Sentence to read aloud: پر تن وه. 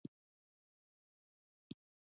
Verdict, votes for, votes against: rejected, 0, 2